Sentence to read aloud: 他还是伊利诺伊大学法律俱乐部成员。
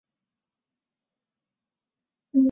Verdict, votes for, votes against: rejected, 0, 3